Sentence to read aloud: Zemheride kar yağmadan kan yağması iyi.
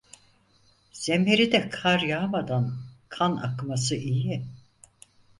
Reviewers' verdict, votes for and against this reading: rejected, 0, 4